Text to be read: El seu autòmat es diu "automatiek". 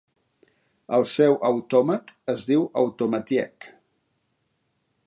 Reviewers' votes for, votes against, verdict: 2, 0, accepted